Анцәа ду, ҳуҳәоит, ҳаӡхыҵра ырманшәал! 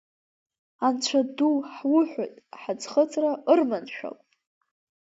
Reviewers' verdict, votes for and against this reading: rejected, 0, 2